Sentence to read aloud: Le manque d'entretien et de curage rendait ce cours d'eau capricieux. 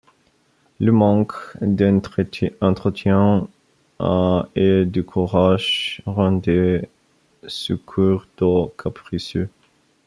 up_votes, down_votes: 0, 2